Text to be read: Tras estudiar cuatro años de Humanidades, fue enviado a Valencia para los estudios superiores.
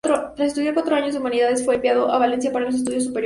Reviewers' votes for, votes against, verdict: 0, 2, rejected